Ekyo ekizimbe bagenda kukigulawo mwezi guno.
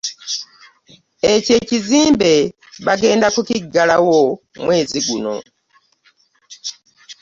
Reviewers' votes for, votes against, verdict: 1, 2, rejected